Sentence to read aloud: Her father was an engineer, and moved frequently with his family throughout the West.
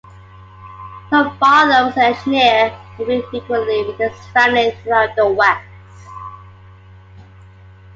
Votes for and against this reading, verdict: 2, 0, accepted